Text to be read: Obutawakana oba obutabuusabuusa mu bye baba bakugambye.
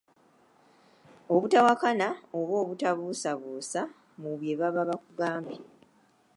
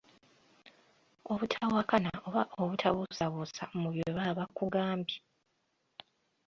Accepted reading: first